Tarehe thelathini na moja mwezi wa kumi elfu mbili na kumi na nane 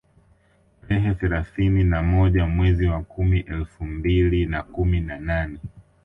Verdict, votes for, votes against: rejected, 0, 2